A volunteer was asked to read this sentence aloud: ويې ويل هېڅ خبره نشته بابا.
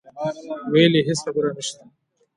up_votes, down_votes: 1, 2